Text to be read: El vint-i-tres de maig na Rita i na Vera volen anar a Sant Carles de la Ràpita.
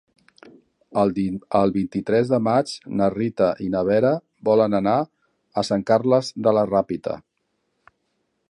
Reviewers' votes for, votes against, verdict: 1, 2, rejected